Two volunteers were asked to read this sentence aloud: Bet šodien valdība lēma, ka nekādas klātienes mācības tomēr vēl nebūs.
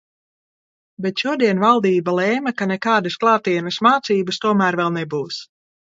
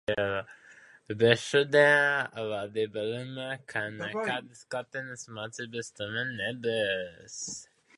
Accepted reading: first